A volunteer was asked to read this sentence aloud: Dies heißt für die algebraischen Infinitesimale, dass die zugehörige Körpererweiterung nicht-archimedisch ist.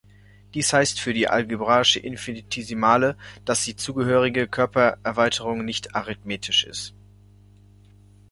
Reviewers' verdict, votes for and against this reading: rejected, 1, 2